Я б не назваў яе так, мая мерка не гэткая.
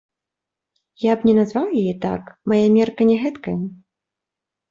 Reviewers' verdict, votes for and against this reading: rejected, 0, 3